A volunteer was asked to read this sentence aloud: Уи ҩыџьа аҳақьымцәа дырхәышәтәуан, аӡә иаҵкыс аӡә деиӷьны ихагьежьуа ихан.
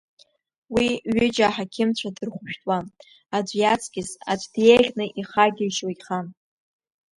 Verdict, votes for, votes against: accepted, 2, 0